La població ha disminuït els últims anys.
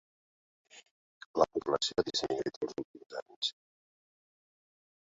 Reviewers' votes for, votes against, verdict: 0, 2, rejected